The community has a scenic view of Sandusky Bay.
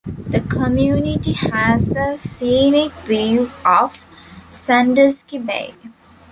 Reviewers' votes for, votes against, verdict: 1, 2, rejected